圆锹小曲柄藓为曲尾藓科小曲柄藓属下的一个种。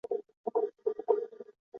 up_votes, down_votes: 0, 2